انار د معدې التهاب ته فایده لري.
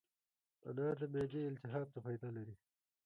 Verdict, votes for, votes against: accepted, 2, 1